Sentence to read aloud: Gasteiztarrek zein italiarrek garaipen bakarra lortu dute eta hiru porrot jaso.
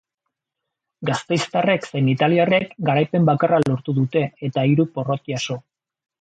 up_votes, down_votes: 2, 0